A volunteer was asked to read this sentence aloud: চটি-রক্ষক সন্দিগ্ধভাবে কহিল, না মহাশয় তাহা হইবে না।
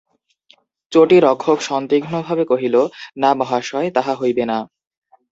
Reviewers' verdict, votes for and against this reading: accepted, 2, 0